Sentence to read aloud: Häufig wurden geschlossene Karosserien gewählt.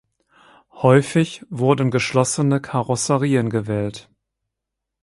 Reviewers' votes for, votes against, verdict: 4, 0, accepted